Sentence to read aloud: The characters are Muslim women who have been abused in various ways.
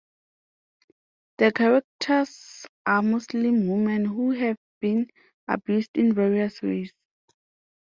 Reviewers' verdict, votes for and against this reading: rejected, 1, 2